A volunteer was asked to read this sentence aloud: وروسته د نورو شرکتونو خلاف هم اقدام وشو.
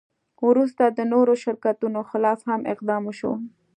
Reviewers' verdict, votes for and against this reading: accepted, 2, 0